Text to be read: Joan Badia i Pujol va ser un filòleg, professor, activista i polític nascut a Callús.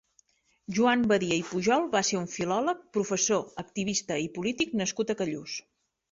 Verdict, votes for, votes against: accepted, 3, 0